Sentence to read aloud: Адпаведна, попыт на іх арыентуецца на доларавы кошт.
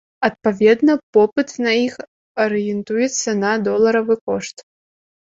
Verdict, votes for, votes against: accepted, 2, 0